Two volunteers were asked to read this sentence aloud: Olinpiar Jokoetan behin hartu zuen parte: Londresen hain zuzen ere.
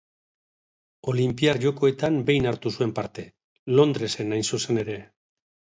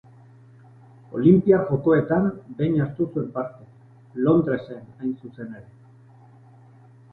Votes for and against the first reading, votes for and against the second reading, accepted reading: 3, 0, 1, 2, first